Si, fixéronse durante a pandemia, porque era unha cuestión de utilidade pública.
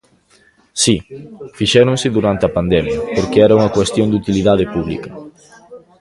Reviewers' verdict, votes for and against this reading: rejected, 1, 2